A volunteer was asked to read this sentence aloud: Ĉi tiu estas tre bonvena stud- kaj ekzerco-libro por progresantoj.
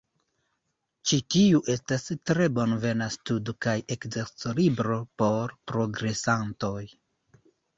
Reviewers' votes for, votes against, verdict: 1, 2, rejected